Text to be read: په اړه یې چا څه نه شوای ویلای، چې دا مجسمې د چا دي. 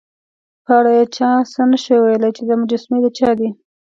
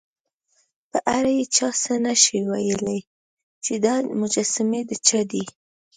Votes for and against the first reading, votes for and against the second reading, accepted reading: 2, 0, 1, 2, first